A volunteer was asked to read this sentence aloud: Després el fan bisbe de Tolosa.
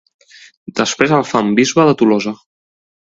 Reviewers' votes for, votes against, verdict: 4, 0, accepted